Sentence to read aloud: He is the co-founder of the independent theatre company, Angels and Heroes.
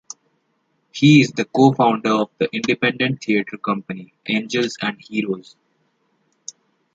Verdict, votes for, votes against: accepted, 2, 0